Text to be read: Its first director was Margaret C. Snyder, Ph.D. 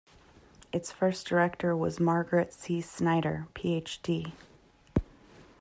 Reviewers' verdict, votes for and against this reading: accepted, 2, 0